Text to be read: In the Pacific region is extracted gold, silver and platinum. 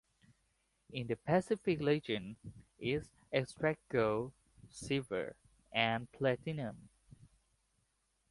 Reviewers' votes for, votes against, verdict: 1, 2, rejected